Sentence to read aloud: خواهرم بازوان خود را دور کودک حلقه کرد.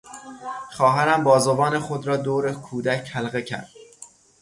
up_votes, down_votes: 6, 0